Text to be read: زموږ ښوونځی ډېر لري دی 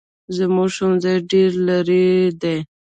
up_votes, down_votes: 2, 1